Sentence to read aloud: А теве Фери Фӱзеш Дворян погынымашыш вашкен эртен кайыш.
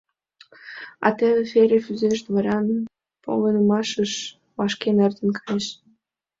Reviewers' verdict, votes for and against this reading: rejected, 0, 2